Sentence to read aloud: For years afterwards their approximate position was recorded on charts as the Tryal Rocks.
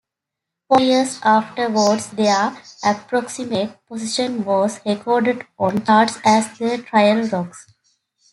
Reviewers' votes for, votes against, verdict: 2, 1, accepted